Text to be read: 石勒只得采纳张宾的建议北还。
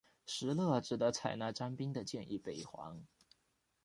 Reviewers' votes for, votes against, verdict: 2, 0, accepted